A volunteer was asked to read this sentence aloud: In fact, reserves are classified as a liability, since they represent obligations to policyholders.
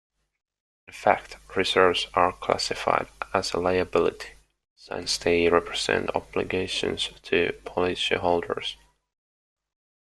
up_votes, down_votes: 2, 0